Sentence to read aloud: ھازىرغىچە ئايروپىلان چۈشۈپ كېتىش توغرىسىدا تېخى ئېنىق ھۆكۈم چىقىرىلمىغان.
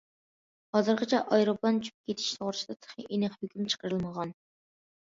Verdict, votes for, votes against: accepted, 2, 1